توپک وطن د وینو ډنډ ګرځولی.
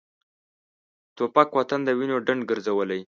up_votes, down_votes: 2, 0